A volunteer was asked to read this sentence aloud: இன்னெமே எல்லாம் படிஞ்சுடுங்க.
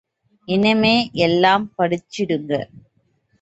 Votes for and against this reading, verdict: 2, 0, accepted